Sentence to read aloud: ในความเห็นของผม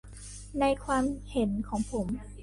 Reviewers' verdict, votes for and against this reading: rejected, 0, 2